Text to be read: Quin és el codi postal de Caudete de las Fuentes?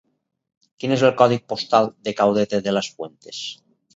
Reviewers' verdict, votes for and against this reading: rejected, 2, 2